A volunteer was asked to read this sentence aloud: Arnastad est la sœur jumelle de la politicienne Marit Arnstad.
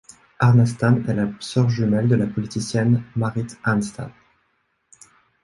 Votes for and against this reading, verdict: 2, 0, accepted